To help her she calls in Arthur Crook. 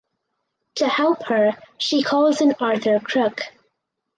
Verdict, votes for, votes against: accepted, 4, 0